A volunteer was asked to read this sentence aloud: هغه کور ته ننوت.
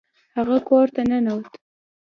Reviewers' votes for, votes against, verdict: 2, 0, accepted